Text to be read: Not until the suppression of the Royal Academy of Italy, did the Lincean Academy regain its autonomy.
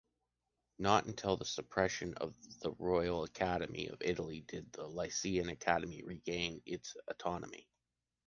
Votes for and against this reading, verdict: 1, 2, rejected